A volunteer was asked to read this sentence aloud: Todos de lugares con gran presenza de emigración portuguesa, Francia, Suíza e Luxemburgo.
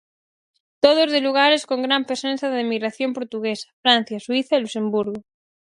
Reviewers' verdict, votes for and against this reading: rejected, 2, 2